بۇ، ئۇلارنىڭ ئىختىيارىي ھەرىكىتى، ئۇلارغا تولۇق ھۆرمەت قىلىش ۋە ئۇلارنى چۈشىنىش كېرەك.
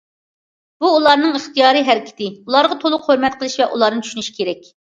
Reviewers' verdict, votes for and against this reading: accepted, 2, 0